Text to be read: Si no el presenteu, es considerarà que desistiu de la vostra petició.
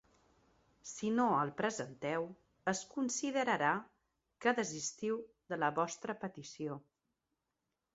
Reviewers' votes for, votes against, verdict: 2, 0, accepted